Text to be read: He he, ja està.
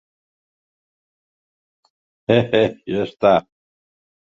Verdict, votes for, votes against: accepted, 2, 0